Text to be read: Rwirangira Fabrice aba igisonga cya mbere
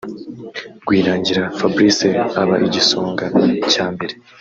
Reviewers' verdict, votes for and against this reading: accepted, 2, 0